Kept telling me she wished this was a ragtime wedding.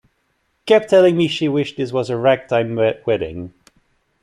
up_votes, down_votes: 0, 2